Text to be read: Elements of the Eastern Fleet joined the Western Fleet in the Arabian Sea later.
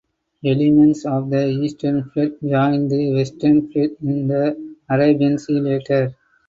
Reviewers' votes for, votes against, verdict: 4, 2, accepted